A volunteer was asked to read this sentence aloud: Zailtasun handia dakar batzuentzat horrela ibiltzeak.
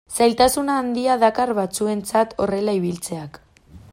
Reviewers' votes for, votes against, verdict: 1, 2, rejected